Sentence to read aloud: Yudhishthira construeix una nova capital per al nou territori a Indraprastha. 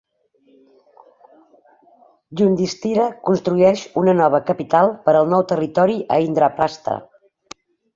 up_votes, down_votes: 2, 0